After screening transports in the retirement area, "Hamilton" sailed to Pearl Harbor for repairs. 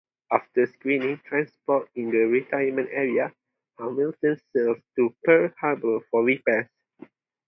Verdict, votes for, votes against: accepted, 2, 0